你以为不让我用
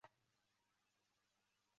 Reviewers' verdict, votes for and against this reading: rejected, 1, 3